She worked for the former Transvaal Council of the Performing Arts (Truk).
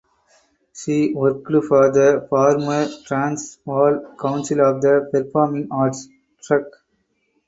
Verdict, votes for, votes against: rejected, 2, 4